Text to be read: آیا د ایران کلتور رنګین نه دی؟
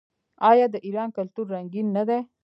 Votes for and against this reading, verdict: 1, 2, rejected